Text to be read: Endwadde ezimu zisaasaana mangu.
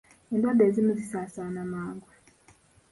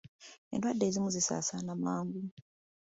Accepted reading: second